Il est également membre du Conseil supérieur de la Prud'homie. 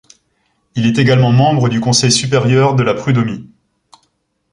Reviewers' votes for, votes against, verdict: 2, 0, accepted